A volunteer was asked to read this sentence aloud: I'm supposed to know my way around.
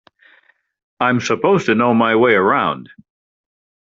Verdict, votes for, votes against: accepted, 3, 0